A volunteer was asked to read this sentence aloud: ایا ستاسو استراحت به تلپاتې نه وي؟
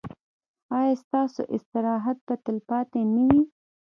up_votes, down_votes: 0, 2